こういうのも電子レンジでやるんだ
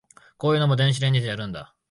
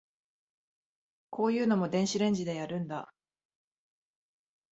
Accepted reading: second